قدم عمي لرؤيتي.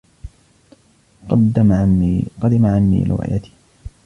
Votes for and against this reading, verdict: 1, 2, rejected